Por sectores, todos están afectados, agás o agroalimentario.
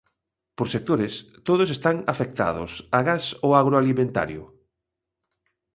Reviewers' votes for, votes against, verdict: 2, 0, accepted